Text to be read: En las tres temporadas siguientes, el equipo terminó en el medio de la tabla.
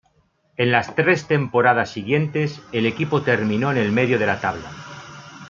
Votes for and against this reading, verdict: 2, 0, accepted